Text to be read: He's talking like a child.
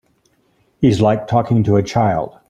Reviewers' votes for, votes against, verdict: 1, 2, rejected